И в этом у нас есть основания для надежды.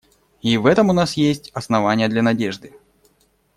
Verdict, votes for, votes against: accepted, 2, 0